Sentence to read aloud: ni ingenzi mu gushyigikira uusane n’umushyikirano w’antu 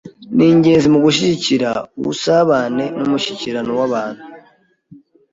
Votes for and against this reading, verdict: 1, 2, rejected